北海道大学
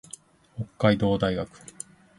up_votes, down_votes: 2, 0